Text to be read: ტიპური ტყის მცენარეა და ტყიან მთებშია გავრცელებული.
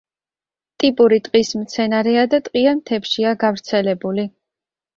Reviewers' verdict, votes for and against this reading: accepted, 2, 0